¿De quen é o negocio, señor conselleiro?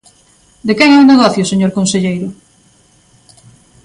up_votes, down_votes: 2, 0